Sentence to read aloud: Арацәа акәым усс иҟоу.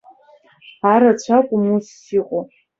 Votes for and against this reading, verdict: 2, 1, accepted